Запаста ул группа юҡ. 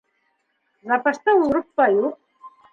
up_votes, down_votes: 2, 0